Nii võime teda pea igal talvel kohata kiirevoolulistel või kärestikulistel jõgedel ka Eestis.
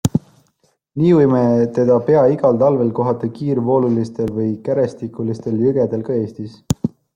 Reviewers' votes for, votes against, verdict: 1, 2, rejected